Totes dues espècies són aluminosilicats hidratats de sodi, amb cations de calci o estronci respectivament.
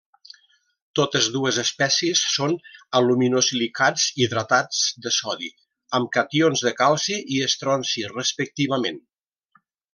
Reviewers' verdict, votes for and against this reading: rejected, 1, 2